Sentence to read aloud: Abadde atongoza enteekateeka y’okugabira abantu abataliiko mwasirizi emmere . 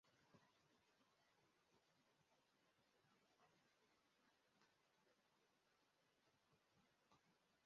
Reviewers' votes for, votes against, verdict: 0, 2, rejected